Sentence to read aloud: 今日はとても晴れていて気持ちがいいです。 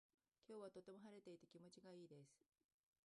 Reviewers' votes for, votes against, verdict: 0, 2, rejected